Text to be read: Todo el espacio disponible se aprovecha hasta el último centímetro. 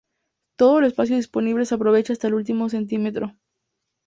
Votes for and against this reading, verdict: 2, 0, accepted